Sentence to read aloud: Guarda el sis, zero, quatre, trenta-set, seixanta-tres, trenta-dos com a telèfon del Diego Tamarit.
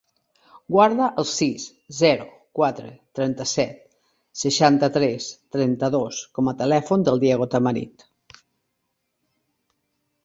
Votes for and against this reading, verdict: 4, 0, accepted